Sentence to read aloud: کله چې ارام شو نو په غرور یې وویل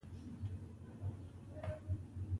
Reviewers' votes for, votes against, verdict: 0, 2, rejected